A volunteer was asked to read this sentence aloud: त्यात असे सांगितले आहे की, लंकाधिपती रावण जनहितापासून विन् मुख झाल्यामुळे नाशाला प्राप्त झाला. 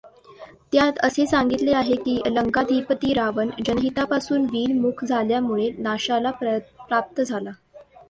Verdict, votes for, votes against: accepted, 2, 1